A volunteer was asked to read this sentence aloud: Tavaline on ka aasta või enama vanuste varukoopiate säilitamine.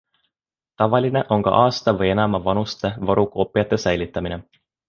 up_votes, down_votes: 2, 1